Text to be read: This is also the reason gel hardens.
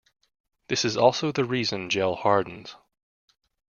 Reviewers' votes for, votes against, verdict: 2, 0, accepted